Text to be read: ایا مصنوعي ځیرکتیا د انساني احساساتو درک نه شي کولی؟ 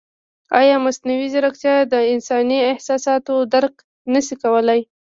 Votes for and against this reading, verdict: 0, 2, rejected